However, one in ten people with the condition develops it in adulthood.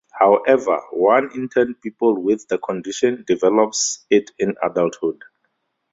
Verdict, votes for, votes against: accepted, 4, 0